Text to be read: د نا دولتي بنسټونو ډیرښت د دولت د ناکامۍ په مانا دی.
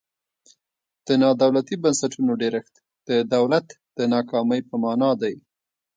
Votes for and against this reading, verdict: 3, 0, accepted